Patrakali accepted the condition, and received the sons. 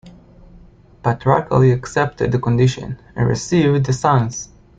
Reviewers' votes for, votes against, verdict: 2, 0, accepted